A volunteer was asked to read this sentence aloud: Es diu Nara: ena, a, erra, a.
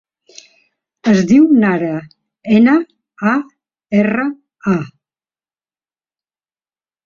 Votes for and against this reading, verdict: 1, 2, rejected